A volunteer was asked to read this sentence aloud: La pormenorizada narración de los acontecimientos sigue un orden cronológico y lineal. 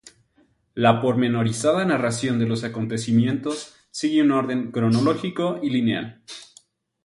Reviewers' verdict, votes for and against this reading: accepted, 2, 0